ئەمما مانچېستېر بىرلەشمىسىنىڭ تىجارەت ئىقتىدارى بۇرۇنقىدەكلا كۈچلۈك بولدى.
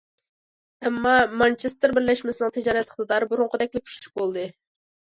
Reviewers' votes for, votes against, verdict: 2, 0, accepted